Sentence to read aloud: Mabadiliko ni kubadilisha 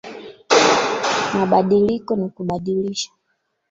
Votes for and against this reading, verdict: 0, 2, rejected